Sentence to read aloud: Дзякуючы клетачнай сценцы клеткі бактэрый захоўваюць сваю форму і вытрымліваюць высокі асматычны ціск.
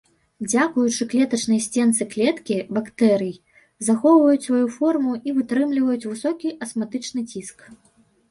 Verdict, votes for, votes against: accepted, 2, 0